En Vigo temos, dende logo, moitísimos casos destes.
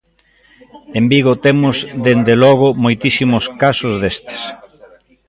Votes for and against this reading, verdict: 1, 2, rejected